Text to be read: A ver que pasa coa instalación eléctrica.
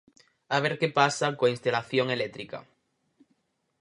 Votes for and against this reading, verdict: 0, 4, rejected